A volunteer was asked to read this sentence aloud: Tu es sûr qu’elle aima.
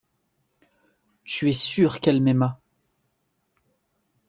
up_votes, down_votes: 0, 2